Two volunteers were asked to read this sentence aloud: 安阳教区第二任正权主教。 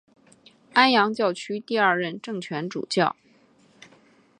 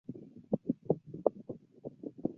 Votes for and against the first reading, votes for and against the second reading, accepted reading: 2, 0, 1, 3, first